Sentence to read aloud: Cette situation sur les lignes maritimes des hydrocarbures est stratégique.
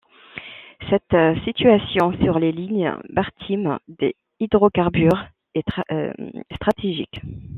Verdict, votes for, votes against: rejected, 1, 2